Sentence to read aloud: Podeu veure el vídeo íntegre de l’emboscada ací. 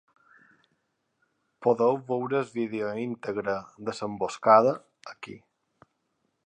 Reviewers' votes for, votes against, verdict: 1, 2, rejected